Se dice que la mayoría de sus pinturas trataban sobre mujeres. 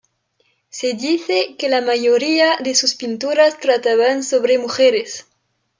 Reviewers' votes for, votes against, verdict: 1, 2, rejected